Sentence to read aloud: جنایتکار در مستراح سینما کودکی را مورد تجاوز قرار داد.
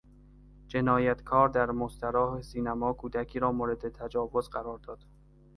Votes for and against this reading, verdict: 2, 0, accepted